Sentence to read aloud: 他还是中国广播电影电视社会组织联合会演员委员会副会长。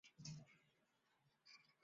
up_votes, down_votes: 0, 3